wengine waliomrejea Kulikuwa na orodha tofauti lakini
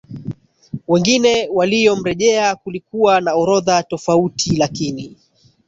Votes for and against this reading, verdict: 1, 2, rejected